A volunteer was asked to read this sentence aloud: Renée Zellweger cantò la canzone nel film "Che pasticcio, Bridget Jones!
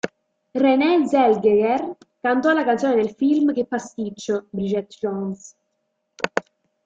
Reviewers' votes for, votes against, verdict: 0, 2, rejected